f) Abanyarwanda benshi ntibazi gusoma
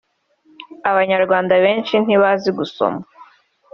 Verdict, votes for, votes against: accepted, 2, 0